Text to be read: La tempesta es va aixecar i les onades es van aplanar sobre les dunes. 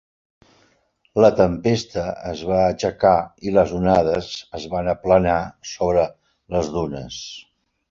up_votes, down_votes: 3, 0